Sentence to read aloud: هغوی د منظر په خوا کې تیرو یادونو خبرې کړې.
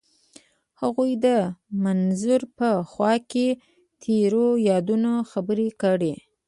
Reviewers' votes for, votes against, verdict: 0, 2, rejected